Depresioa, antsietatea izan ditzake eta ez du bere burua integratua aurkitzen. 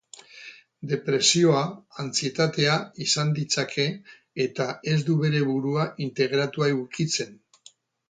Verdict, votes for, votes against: rejected, 2, 4